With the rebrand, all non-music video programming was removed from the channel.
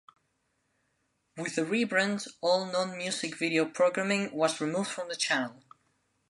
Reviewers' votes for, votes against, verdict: 2, 0, accepted